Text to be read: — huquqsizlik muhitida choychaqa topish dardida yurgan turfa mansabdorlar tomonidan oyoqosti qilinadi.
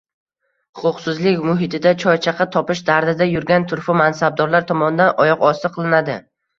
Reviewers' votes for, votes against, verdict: 1, 2, rejected